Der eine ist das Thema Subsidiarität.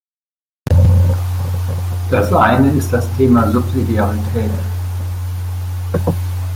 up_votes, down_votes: 1, 2